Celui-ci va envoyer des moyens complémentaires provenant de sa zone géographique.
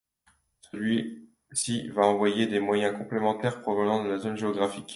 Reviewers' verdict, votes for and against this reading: rejected, 1, 2